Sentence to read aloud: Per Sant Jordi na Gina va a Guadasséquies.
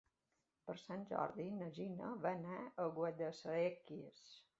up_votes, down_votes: 0, 2